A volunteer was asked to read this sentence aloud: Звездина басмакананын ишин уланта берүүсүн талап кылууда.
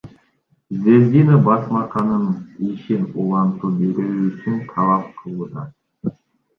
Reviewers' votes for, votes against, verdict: 2, 3, rejected